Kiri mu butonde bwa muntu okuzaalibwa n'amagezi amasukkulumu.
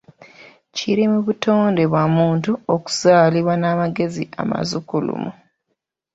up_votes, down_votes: 2, 1